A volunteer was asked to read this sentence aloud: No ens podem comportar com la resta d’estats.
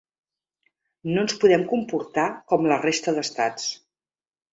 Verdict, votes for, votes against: accepted, 3, 0